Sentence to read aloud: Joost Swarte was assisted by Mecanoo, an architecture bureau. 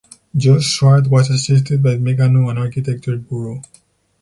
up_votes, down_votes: 0, 4